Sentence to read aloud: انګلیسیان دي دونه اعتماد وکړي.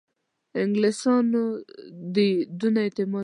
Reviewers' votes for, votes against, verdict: 1, 2, rejected